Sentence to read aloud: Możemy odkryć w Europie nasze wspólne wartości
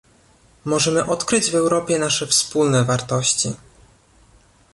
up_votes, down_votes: 2, 0